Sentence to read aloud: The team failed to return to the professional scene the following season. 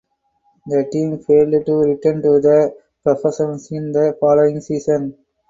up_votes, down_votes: 2, 2